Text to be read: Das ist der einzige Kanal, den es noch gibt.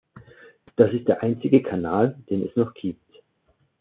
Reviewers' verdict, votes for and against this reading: accepted, 2, 0